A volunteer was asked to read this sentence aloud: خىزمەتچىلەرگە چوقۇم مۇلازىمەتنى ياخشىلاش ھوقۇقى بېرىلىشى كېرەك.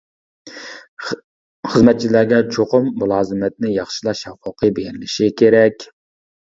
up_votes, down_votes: 0, 2